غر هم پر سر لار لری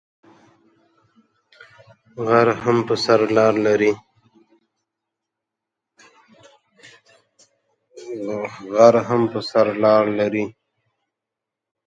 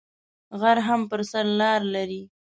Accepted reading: first